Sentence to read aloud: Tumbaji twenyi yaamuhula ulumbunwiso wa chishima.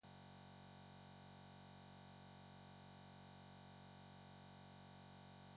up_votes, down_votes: 1, 2